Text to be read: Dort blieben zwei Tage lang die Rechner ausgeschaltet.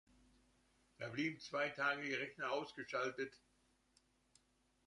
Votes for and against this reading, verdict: 1, 2, rejected